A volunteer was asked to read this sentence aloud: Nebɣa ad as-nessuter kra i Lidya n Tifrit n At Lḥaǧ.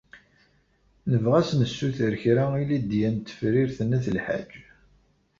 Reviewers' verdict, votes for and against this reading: rejected, 1, 2